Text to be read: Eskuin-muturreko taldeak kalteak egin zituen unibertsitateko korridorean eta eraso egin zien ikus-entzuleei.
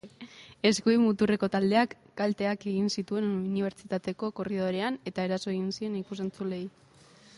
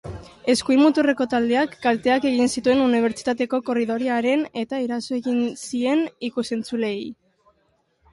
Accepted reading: first